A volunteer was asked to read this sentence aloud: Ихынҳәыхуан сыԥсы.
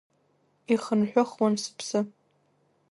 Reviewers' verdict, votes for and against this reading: rejected, 1, 2